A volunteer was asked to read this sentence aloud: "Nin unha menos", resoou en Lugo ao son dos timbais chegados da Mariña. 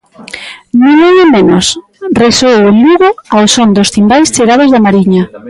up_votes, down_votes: 2, 0